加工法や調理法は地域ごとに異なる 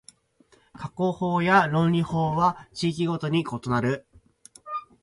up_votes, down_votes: 2, 4